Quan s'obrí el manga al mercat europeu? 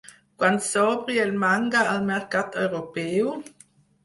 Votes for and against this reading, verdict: 0, 4, rejected